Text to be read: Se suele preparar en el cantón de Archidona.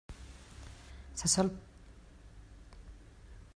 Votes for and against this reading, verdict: 0, 2, rejected